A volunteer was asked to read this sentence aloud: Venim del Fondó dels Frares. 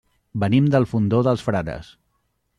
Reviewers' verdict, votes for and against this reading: accepted, 2, 0